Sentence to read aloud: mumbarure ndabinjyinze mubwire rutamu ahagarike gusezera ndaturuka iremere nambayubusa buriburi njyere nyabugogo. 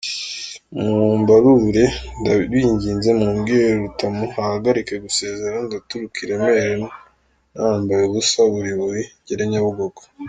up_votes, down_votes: 1, 3